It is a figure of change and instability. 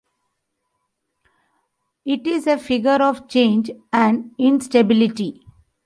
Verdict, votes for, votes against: rejected, 0, 2